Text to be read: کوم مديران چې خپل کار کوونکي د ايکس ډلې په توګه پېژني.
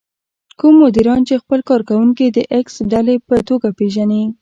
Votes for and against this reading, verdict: 0, 2, rejected